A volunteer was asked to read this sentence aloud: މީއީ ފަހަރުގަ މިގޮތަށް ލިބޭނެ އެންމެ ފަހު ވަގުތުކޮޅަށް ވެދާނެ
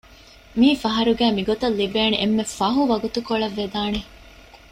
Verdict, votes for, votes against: accepted, 2, 0